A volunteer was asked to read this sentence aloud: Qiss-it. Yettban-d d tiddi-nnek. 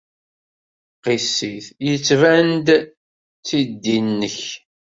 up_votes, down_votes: 2, 0